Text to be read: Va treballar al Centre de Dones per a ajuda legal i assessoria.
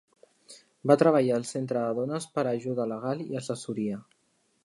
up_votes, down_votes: 2, 1